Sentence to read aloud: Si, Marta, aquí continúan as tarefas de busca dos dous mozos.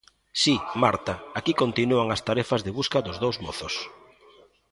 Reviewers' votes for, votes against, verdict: 2, 0, accepted